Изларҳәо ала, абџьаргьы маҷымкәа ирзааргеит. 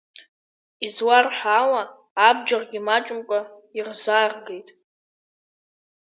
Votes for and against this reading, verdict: 4, 7, rejected